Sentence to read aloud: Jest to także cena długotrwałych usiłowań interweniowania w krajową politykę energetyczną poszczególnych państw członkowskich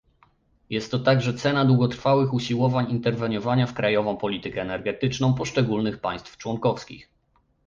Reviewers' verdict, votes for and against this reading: accepted, 2, 0